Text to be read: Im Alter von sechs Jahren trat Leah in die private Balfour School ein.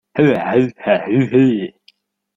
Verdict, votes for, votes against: rejected, 0, 2